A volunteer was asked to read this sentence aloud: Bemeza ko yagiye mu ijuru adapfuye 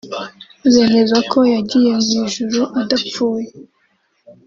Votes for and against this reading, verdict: 2, 0, accepted